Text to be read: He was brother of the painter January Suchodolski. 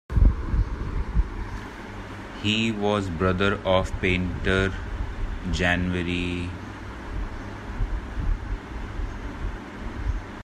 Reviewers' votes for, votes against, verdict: 0, 2, rejected